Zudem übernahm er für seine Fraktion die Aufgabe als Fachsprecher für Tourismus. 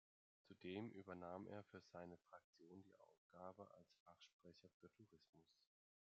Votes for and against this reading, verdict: 1, 2, rejected